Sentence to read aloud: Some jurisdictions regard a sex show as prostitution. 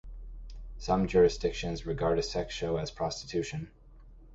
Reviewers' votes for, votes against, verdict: 2, 0, accepted